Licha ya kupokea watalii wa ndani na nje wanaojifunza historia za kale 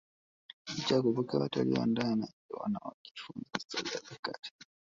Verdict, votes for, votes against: rejected, 0, 2